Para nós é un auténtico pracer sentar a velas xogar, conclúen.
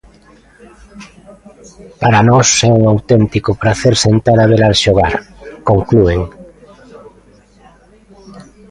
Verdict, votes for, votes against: accepted, 2, 0